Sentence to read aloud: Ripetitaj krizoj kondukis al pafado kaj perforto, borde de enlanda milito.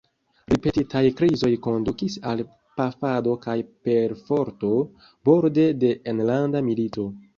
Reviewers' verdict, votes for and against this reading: rejected, 1, 2